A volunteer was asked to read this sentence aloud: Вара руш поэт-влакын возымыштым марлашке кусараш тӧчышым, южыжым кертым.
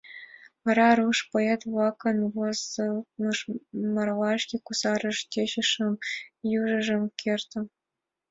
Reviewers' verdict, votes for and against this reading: rejected, 1, 2